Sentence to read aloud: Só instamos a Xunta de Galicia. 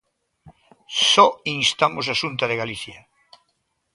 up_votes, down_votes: 2, 0